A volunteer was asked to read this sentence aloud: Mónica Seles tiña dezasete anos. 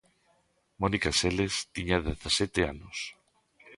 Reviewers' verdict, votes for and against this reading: accepted, 2, 0